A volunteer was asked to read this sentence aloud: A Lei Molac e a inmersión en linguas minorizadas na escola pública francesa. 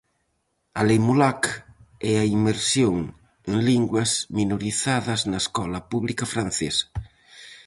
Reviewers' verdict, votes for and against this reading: accepted, 4, 0